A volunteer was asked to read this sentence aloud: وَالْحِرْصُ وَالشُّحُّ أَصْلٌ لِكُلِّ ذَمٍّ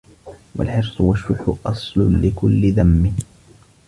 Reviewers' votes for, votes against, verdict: 2, 1, accepted